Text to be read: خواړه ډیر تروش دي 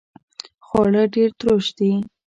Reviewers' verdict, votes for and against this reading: accepted, 2, 1